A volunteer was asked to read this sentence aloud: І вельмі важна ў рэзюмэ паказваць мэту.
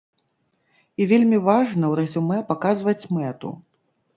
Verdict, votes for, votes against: accepted, 2, 0